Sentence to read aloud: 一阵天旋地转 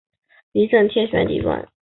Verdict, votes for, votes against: accepted, 3, 0